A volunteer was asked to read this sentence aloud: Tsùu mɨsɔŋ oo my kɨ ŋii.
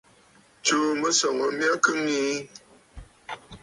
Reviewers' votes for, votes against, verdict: 2, 0, accepted